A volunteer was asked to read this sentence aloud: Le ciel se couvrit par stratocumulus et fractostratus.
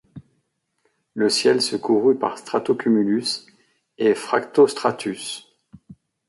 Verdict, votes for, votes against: rejected, 1, 2